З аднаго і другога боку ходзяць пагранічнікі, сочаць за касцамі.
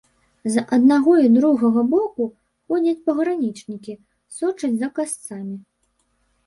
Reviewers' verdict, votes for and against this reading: rejected, 0, 2